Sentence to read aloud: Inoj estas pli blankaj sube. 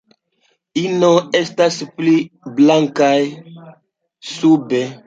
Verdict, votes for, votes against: accepted, 2, 0